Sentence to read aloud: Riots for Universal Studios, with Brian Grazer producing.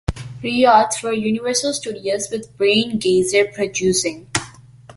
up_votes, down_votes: 2, 1